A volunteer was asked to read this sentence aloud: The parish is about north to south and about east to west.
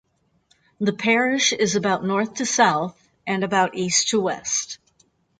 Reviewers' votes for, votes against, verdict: 4, 0, accepted